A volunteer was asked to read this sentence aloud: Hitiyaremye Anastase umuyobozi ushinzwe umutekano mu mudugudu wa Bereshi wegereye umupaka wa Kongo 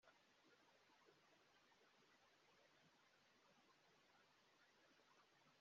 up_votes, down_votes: 0, 2